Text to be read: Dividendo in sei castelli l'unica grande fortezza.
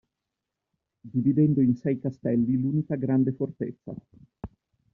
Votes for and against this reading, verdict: 2, 0, accepted